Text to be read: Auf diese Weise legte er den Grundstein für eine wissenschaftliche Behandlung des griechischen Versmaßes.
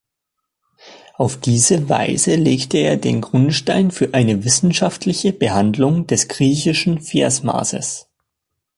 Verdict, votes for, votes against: accepted, 2, 0